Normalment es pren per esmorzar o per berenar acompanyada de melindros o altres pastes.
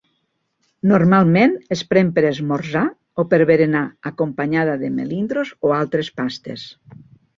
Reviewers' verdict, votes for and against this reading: accepted, 2, 0